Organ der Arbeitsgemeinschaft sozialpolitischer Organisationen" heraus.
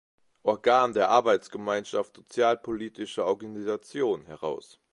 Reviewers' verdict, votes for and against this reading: rejected, 1, 2